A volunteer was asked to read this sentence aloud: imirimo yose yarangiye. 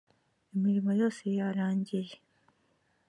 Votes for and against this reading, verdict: 2, 0, accepted